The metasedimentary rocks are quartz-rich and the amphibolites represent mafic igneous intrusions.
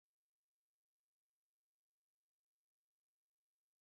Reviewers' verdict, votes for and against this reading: rejected, 0, 2